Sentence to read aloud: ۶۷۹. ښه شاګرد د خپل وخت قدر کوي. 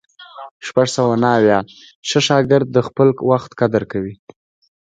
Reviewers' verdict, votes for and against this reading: rejected, 0, 2